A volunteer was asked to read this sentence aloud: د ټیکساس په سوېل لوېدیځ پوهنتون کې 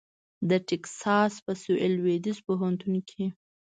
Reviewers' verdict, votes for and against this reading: accepted, 2, 0